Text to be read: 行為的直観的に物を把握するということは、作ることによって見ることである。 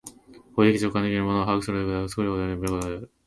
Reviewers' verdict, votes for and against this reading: rejected, 0, 2